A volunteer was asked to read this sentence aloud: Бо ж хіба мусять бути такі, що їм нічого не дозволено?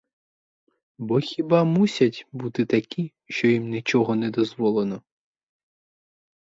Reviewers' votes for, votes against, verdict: 2, 2, rejected